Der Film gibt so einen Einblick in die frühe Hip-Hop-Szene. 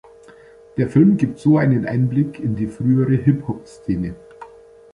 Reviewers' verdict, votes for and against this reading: rejected, 1, 2